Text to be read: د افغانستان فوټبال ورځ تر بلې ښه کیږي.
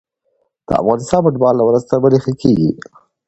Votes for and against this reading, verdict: 2, 0, accepted